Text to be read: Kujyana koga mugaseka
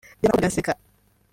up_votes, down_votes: 0, 2